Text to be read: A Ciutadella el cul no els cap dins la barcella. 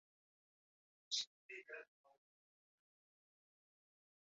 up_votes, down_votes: 1, 2